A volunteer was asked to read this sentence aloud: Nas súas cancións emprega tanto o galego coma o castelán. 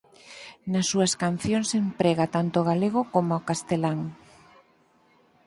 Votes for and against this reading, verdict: 4, 0, accepted